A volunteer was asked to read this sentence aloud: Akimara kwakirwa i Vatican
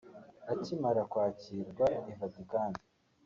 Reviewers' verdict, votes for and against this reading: accepted, 2, 0